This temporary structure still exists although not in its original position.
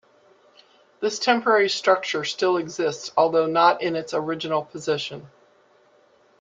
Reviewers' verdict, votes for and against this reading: accepted, 2, 1